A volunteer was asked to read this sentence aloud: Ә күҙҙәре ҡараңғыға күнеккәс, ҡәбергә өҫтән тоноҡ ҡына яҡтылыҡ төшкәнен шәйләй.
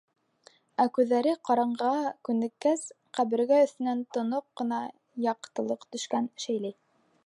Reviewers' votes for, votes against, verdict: 2, 3, rejected